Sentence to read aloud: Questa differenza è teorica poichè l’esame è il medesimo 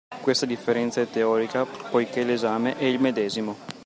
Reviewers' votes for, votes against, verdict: 2, 0, accepted